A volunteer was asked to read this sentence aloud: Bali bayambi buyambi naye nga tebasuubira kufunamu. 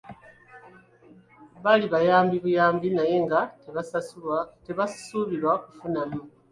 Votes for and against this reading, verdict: 0, 2, rejected